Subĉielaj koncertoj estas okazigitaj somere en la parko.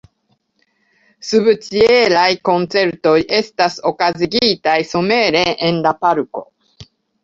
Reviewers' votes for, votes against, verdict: 2, 1, accepted